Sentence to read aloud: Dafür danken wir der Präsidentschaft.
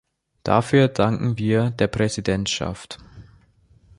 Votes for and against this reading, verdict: 2, 0, accepted